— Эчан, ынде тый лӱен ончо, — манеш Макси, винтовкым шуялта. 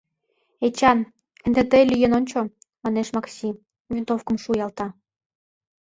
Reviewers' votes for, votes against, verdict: 2, 0, accepted